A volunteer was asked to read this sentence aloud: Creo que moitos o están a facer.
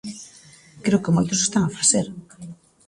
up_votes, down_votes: 2, 0